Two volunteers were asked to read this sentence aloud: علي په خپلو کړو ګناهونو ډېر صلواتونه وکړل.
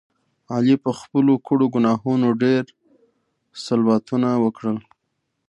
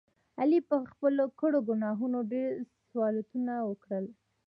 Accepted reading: first